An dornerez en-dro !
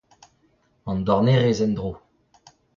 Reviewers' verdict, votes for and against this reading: accepted, 2, 0